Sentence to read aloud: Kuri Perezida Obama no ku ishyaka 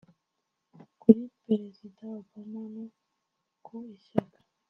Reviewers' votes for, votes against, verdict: 1, 2, rejected